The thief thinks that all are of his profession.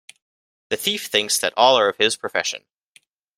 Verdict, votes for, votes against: accepted, 2, 0